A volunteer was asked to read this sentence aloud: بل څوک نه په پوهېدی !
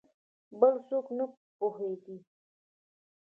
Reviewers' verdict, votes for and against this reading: accepted, 2, 1